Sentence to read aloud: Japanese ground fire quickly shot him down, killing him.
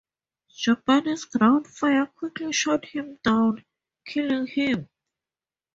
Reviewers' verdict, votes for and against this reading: rejected, 0, 2